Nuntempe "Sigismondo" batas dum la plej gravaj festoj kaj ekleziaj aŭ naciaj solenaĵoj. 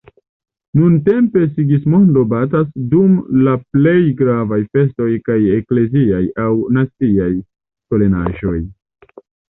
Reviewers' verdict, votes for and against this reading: accepted, 2, 0